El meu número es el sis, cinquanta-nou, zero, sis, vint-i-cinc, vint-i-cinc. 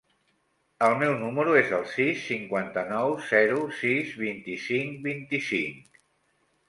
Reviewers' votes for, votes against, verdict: 1, 2, rejected